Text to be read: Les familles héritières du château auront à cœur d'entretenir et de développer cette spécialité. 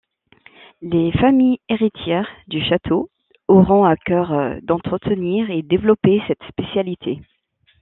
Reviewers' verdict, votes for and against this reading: rejected, 1, 2